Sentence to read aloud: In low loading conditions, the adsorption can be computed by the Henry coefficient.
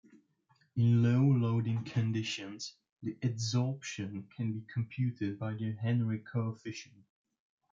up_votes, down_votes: 0, 2